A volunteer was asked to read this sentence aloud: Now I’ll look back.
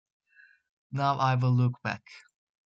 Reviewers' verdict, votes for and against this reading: accepted, 2, 0